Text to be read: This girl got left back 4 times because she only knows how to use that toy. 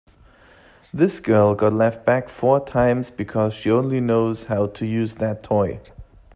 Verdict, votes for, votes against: rejected, 0, 2